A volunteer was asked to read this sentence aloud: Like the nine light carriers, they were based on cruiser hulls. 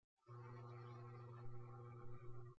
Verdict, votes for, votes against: rejected, 0, 2